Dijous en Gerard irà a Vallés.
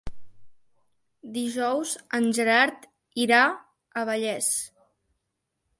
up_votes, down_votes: 3, 0